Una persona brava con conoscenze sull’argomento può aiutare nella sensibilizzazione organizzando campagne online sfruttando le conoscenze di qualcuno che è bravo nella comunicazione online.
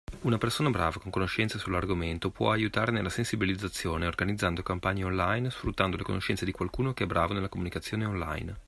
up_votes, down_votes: 2, 0